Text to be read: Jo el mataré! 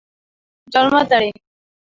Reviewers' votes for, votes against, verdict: 3, 0, accepted